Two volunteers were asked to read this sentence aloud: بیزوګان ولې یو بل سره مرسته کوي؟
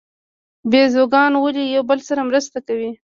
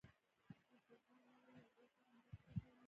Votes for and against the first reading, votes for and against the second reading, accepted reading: 2, 0, 1, 2, first